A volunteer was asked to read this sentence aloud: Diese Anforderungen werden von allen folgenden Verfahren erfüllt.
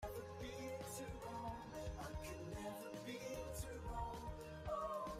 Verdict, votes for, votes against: rejected, 0, 2